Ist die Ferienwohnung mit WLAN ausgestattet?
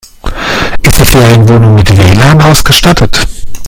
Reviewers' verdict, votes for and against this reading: rejected, 1, 2